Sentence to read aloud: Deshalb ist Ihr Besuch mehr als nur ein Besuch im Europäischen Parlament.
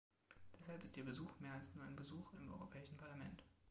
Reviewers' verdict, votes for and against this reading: accepted, 2, 1